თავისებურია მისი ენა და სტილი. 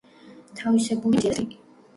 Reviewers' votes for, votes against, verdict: 0, 2, rejected